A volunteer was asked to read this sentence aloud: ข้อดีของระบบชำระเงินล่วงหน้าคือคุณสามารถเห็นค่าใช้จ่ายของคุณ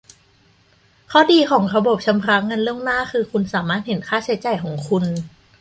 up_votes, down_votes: 2, 0